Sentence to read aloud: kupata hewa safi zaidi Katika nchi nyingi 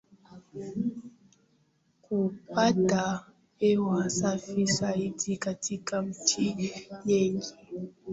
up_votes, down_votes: 0, 2